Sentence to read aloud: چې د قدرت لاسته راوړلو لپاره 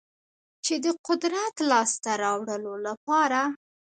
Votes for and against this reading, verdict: 0, 2, rejected